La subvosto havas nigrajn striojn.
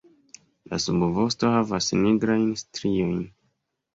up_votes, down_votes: 2, 0